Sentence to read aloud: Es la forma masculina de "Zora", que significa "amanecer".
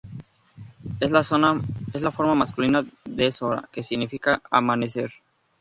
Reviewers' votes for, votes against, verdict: 2, 0, accepted